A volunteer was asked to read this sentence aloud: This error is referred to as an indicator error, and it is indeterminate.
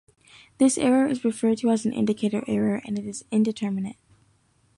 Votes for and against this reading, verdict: 2, 0, accepted